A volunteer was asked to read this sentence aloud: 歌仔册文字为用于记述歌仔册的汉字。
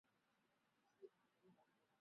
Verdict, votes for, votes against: accepted, 2, 0